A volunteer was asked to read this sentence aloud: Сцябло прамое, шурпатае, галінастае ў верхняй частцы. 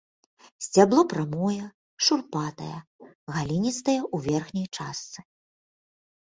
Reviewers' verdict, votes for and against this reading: accepted, 2, 1